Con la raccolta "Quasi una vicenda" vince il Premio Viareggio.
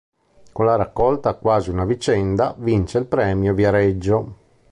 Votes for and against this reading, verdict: 3, 0, accepted